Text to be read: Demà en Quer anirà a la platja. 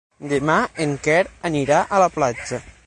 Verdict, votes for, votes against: accepted, 12, 0